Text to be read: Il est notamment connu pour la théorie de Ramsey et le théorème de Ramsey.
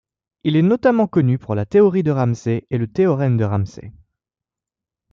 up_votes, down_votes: 2, 0